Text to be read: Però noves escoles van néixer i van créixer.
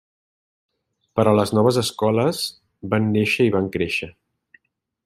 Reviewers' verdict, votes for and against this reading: rejected, 0, 2